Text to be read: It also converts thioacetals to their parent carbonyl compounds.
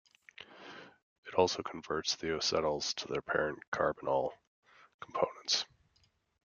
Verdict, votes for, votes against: rejected, 0, 2